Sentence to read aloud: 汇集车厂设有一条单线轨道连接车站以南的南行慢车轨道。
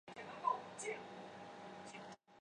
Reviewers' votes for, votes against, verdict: 0, 3, rejected